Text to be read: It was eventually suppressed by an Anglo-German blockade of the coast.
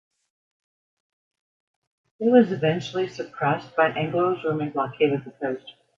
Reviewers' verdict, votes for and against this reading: accepted, 2, 0